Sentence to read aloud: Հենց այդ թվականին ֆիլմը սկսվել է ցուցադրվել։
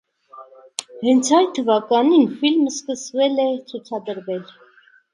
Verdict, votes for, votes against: rejected, 0, 2